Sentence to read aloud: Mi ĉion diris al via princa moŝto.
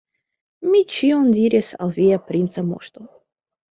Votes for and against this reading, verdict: 2, 0, accepted